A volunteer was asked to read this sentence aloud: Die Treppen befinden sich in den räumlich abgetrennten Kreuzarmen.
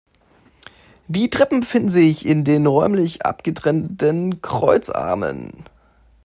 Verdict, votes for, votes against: rejected, 0, 2